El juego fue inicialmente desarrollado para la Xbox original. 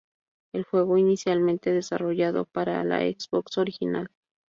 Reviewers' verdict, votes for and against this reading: rejected, 0, 2